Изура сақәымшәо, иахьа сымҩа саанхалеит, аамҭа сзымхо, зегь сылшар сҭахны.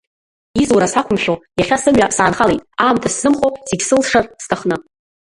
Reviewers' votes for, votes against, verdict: 0, 3, rejected